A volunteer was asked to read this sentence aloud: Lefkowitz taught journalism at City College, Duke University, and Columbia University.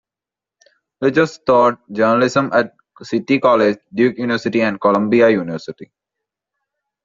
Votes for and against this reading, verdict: 0, 2, rejected